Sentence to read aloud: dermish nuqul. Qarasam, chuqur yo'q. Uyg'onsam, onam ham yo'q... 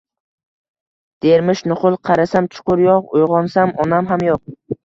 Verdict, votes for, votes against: accepted, 2, 1